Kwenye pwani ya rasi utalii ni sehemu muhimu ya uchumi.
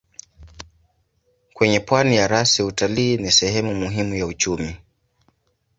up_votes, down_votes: 2, 0